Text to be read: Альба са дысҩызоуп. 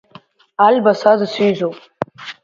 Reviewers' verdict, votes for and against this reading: accepted, 2, 1